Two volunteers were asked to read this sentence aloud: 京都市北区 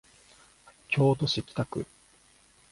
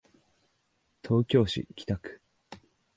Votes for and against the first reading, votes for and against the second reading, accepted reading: 2, 0, 1, 2, first